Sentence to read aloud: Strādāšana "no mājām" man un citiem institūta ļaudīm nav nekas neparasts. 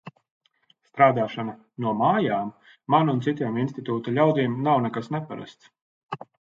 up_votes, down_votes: 2, 0